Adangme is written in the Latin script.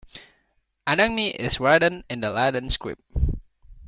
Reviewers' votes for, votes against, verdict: 3, 2, accepted